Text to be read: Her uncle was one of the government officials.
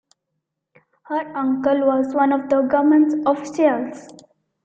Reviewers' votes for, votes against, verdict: 1, 2, rejected